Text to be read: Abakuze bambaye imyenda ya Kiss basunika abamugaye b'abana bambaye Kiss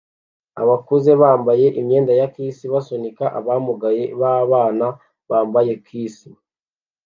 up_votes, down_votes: 2, 0